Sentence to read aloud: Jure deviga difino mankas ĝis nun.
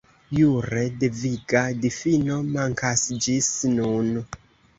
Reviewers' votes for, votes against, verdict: 2, 0, accepted